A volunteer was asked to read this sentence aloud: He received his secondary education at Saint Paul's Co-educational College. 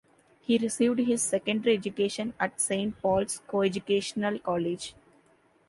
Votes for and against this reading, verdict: 3, 0, accepted